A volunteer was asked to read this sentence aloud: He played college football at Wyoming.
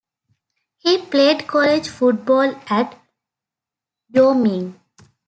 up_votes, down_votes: 0, 2